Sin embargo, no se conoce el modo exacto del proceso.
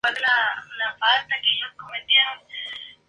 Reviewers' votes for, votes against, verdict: 0, 2, rejected